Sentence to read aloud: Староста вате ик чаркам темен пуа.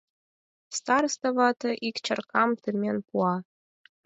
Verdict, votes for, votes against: accepted, 4, 0